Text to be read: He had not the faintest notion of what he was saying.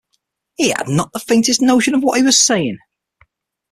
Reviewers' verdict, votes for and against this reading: accepted, 6, 0